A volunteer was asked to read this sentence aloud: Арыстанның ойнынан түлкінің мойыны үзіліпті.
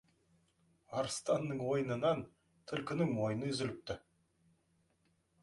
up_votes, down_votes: 1, 2